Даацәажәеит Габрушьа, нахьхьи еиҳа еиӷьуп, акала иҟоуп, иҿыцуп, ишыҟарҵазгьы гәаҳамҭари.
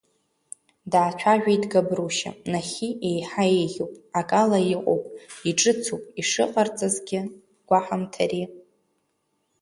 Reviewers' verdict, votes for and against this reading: accepted, 2, 0